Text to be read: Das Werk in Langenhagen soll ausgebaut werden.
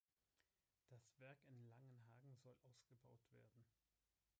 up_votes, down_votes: 1, 3